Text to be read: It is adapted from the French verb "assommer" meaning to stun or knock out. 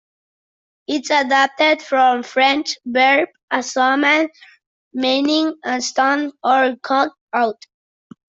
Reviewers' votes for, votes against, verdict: 0, 2, rejected